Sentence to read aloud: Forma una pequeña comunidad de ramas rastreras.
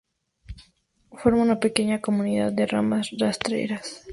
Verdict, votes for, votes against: rejected, 2, 2